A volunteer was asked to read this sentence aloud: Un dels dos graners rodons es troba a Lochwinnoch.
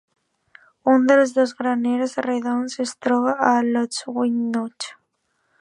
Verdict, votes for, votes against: accepted, 2, 0